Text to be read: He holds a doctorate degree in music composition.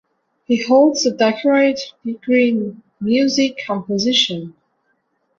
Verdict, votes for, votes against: rejected, 0, 2